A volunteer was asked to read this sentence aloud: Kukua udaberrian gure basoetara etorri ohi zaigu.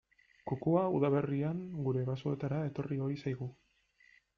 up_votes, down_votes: 2, 0